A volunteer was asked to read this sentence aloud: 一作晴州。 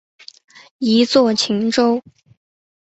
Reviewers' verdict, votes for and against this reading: accepted, 2, 0